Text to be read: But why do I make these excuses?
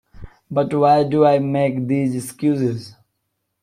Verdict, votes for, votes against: accepted, 2, 0